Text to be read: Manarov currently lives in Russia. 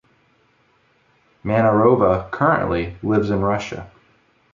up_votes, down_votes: 0, 2